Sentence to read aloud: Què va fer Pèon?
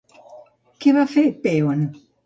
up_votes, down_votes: 3, 0